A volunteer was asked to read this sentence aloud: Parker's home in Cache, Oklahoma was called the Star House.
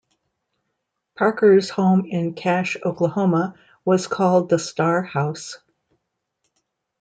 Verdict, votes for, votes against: accepted, 2, 0